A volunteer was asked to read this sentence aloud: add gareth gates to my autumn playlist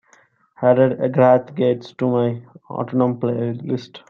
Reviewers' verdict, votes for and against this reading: rejected, 0, 2